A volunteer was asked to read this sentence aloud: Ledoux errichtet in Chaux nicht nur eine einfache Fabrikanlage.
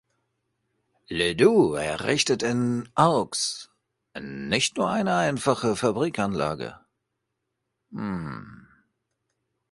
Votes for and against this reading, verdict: 0, 2, rejected